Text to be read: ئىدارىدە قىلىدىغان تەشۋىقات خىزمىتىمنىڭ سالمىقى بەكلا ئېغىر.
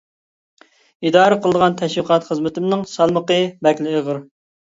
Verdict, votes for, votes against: rejected, 1, 2